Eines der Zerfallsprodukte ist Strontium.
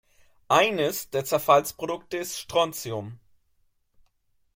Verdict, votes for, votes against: accepted, 2, 0